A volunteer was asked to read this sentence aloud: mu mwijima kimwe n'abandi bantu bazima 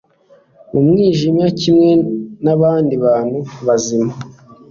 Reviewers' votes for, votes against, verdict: 2, 0, accepted